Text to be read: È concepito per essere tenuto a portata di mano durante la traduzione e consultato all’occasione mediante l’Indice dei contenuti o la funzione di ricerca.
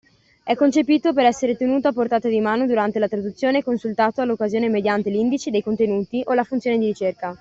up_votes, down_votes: 2, 0